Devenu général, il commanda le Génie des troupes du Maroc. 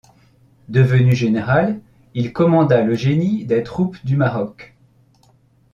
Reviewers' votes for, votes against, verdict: 2, 0, accepted